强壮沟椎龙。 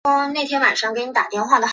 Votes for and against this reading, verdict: 0, 2, rejected